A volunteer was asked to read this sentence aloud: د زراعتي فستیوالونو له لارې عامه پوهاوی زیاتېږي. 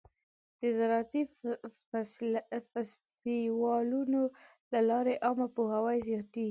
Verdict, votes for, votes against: rejected, 1, 2